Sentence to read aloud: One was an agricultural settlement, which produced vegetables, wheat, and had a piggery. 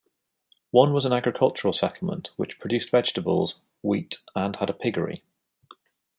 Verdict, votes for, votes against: accepted, 2, 0